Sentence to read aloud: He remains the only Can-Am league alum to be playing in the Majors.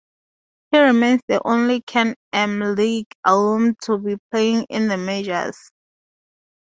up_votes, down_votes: 2, 0